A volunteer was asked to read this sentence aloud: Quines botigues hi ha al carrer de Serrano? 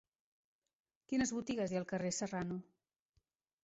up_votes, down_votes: 1, 2